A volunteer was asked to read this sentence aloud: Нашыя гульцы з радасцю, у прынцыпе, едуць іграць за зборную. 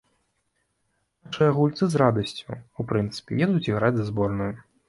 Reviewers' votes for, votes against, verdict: 1, 2, rejected